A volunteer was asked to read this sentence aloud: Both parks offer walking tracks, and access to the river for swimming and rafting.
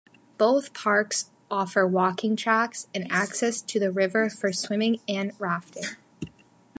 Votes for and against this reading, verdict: 2, 0, accepted